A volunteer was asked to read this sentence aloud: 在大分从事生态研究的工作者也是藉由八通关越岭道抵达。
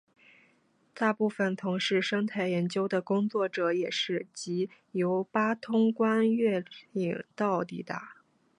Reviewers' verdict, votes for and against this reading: accepted, 2, 0